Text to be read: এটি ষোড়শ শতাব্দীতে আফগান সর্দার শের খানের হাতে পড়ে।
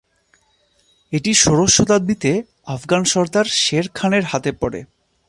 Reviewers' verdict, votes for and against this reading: accepted, 2, 0